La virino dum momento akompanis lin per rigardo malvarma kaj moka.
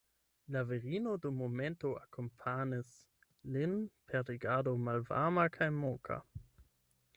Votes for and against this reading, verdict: 8, 0, accepted